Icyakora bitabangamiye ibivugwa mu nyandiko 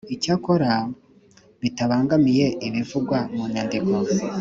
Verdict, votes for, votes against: accepted, 2, 0